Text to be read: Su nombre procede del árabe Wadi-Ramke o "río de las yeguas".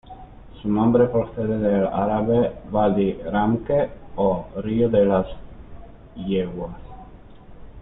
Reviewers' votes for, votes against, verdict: 1, 2, rejected